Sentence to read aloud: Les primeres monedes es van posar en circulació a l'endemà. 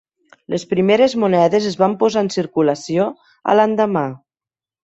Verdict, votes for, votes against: accepted, 3, 0